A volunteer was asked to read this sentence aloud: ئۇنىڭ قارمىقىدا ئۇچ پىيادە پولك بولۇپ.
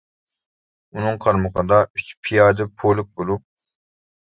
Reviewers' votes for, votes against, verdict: 1, 2, rejected